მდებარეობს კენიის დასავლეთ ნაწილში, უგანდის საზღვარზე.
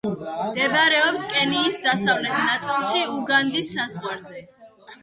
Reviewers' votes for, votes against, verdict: 2, 0, accepted